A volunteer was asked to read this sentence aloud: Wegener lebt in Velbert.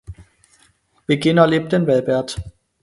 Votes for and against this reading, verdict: 0, 4, rejected